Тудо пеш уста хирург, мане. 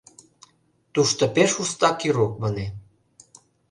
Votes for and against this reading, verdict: 0, 2, rejected